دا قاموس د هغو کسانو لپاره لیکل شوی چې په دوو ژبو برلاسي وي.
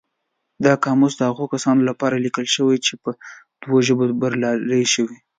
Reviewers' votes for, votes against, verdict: 2, 0, accepted